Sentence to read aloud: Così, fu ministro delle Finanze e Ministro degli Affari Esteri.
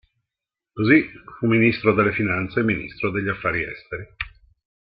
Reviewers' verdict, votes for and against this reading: accepted, 3, 0